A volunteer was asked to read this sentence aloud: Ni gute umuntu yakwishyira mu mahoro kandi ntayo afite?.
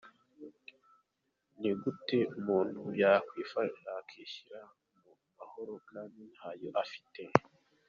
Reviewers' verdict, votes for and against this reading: rejected, 0, 2